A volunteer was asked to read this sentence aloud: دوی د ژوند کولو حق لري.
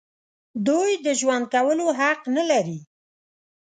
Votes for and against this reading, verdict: 1, 2, rejected